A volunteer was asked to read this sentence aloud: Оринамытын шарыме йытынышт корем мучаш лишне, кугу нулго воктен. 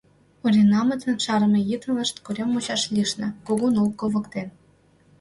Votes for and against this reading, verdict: 0, 2, rejected